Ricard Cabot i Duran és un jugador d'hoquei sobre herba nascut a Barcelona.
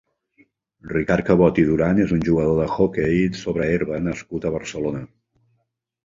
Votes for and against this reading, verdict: 0, 2, rejected